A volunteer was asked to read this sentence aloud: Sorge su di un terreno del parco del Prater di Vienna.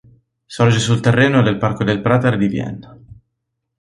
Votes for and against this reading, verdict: 3, 0, accepted